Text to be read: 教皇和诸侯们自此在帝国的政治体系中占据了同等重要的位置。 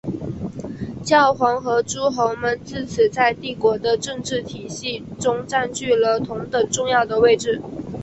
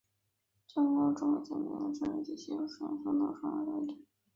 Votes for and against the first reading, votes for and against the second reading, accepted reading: 4, 1, 1, 4, first